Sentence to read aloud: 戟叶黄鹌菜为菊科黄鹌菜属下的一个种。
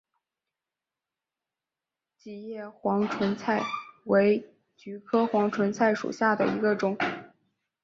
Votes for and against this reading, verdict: 2, 1, accepted